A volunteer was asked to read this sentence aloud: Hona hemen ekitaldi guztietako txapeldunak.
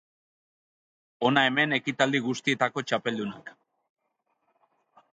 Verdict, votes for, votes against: accepted, 2, 0